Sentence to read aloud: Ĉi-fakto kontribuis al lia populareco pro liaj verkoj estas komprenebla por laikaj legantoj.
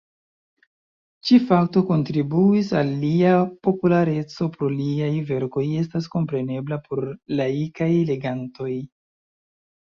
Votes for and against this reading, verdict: 2, 0, accepted